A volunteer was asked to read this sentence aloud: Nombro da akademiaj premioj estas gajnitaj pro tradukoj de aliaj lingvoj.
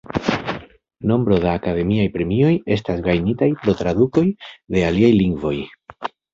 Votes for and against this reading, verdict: 2, 0, accepted